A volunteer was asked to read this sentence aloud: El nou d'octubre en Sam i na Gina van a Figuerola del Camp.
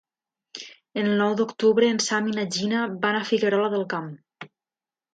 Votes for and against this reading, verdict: 2, 0, accepted